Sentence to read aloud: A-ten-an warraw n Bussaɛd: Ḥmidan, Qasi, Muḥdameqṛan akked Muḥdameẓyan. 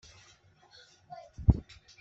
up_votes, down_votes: 1, 2